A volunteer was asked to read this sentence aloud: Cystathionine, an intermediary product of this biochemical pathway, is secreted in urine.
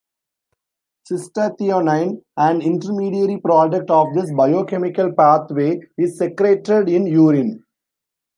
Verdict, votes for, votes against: rejected, 0, 2